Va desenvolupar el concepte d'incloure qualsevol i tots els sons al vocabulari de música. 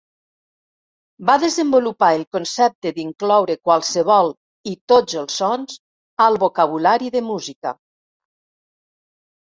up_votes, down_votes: 3, 1